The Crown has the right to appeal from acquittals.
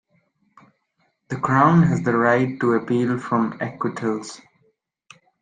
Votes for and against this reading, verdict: 2, 0, accepted